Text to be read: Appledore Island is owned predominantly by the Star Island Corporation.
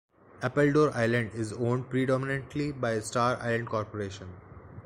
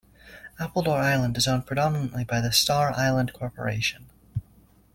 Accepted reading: second